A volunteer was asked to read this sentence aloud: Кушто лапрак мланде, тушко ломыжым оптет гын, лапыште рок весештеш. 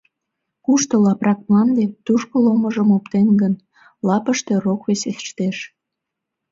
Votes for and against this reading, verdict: 0, 2, rejected